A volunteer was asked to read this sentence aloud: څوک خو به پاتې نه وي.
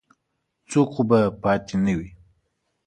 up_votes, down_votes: 3, 0